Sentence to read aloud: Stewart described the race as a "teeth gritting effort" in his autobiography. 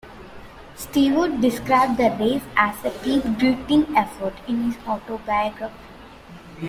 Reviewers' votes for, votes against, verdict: 0, 2, rejected